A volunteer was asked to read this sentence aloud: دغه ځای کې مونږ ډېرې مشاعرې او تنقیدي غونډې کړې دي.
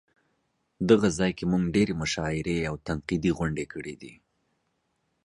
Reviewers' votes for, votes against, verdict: 2, 0, accepted